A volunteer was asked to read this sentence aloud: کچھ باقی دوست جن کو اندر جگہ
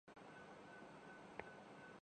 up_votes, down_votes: 2, 1